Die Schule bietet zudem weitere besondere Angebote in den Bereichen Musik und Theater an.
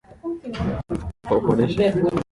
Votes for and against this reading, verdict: 0, 2, rejected